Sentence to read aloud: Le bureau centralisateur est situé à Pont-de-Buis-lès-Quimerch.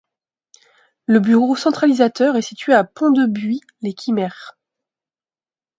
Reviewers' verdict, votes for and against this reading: accepted, 2, 0